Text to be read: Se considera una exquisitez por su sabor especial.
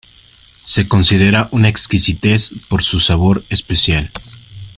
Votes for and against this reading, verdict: 2, 0, accepted